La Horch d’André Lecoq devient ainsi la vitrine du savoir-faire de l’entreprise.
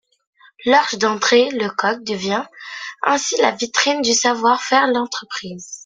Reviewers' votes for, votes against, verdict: 2, 1, accepted